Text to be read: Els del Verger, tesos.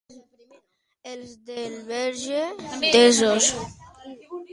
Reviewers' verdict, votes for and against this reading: rejected, 1, 2